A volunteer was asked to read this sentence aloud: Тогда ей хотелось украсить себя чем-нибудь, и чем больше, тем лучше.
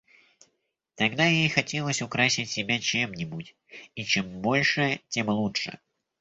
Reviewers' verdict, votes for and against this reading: accepted, 2, 0